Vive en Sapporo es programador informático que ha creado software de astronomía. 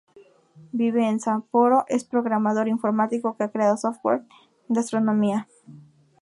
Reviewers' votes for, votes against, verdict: 2, 2, rejected